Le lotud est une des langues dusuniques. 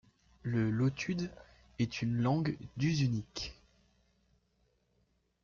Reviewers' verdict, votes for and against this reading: rejected, 1, 2